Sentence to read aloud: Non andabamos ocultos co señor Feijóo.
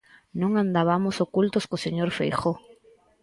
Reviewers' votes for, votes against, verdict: 4, 0, accepted